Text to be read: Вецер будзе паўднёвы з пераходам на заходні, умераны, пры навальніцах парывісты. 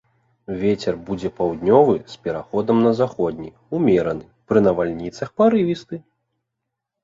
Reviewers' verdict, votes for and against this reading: accepted, 2, 0